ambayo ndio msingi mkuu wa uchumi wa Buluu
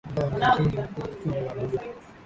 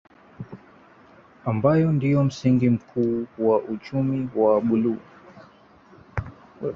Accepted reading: second